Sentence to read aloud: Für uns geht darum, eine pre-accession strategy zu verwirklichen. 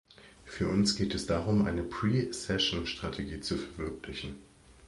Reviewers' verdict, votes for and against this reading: rejected, 1, 2